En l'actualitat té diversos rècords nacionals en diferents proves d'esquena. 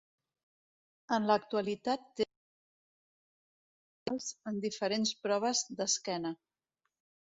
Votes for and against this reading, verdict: 1, 2, rejected